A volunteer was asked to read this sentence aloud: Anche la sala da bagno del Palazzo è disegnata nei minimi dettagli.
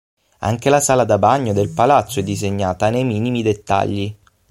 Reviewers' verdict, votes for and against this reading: accepted, 6, 0